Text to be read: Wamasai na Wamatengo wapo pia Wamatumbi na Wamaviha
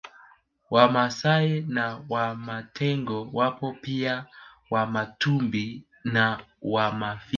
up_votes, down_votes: 1, 2